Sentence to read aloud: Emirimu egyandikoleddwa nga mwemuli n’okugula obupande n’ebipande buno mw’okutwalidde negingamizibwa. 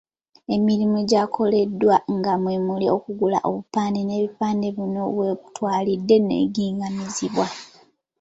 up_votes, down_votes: 1, 2